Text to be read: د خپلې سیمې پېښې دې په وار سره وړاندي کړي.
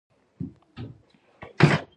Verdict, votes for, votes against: rejected, 0, 2